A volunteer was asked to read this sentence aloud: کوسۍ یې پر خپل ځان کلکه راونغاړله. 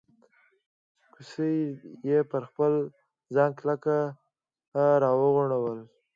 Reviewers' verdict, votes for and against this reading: rejected, 1, 2